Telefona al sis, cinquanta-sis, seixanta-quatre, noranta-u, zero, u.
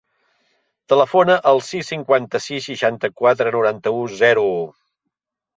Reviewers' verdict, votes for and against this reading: accepted, 3, 0